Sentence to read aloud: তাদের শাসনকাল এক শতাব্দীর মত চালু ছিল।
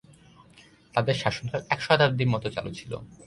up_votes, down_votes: 0, 2